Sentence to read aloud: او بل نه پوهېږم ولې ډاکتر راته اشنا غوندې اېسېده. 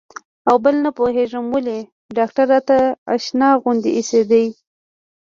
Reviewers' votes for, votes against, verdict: 1, 2, rejected